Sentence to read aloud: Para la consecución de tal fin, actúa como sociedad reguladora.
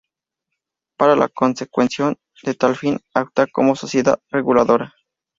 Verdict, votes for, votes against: rejected, 0, 2